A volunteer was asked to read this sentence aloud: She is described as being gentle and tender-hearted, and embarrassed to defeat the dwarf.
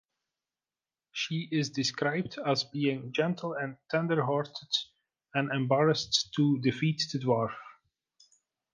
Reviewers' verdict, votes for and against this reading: accepted, 2, 0